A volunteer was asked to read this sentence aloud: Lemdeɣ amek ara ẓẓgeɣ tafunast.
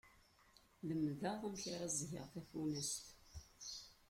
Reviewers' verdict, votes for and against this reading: rejected, 1, 2